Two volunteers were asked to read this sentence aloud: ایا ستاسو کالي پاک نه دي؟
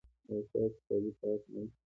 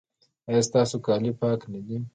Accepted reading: second